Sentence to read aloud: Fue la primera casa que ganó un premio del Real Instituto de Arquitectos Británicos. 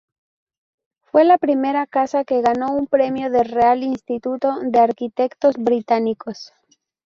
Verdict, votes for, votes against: accepted, 2, 0